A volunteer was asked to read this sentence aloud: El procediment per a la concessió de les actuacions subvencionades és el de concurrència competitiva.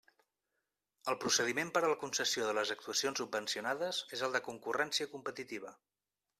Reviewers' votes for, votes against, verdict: 2, 0, accepted